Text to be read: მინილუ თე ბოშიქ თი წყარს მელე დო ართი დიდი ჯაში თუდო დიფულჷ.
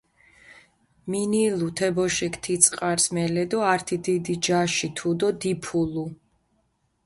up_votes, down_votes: 0, 2